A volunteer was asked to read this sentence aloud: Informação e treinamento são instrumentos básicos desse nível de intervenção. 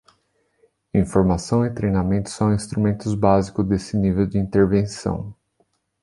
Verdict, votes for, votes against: rejected, 0, 2